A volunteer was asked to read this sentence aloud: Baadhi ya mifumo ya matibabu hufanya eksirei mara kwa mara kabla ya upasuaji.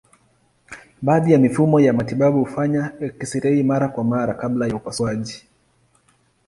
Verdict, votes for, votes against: accepted, 2, 0